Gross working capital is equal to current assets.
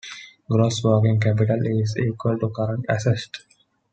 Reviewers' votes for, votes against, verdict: 2, 1, accepted